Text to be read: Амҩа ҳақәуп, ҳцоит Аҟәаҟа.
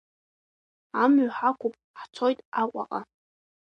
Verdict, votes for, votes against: accepted, 2, 1